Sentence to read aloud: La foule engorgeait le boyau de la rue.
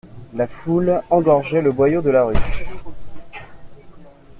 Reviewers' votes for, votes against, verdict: 2, 0, accepted